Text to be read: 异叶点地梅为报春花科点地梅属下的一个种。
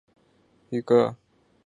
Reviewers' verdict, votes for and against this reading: rejected, 1, 3